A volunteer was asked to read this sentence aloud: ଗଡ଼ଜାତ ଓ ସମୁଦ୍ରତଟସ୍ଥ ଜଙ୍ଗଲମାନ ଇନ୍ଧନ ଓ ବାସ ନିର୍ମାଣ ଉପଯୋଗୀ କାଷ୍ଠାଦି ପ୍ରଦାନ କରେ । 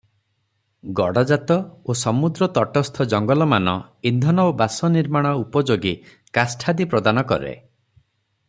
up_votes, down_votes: 0, 3